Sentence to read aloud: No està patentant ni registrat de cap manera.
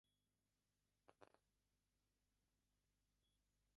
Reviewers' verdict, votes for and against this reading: rejected, 0, 2